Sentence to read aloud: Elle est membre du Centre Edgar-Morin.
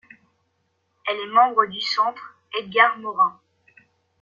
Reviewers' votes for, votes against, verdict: 2, 0, accepted